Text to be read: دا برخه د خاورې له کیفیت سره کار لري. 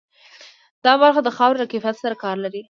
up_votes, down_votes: 2, 0